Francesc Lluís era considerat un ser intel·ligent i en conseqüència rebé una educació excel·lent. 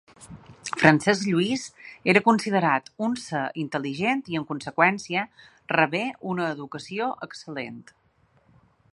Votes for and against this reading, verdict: 2, 0, accepted